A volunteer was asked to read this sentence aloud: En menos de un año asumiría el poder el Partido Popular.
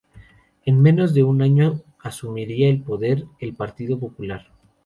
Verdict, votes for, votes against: accepted, 2, 0